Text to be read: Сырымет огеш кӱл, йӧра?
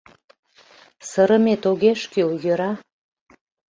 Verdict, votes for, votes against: accepted, 2, 0